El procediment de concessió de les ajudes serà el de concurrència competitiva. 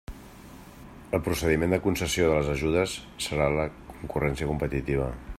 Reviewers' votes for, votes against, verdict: 1, 2, rejected